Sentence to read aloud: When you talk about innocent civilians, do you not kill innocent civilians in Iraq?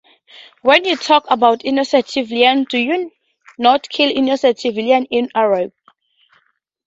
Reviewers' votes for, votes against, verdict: 2, 0, accepted